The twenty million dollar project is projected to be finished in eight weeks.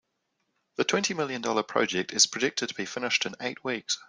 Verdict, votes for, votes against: accepted, 2, 0